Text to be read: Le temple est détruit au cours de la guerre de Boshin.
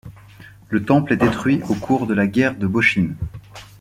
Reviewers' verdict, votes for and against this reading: accepted, 2, 1